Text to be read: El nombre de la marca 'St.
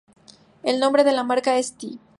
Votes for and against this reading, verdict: 4, 2, accepted